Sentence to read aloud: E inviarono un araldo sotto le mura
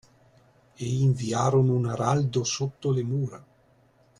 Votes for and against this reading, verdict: 2, 0, accepted